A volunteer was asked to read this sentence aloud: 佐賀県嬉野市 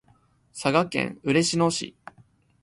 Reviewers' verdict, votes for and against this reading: accepted, 2, 1